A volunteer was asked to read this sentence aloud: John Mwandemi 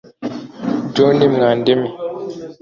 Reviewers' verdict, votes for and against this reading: rejected, 1, 2